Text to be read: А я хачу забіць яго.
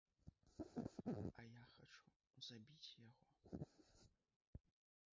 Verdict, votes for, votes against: rejected, 0, 2